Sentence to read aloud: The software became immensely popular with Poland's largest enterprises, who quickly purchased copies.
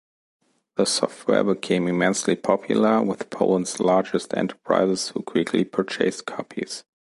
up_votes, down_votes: 2, 1